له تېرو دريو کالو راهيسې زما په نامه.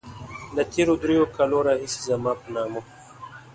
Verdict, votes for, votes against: accepted, 2, 0